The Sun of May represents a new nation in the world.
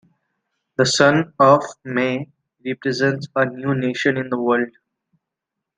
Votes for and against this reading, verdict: 2, 0, accepted